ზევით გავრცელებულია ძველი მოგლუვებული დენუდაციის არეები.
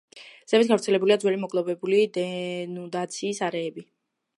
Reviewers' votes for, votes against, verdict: 1, 2, rejected